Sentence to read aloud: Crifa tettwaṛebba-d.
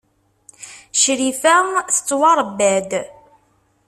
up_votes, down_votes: 2, 0